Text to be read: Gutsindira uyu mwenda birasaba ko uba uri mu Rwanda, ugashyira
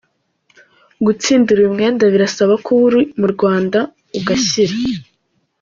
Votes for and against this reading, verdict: 0, 2, rejected